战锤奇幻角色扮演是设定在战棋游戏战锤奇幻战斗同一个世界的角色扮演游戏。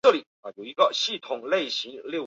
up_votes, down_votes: 1, 4